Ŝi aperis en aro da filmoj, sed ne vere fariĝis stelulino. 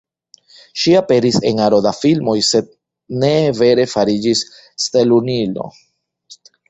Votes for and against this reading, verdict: 0, 2, rejected